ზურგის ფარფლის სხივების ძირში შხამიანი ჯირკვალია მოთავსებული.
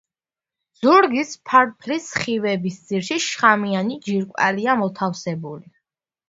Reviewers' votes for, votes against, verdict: 1, 2, rejected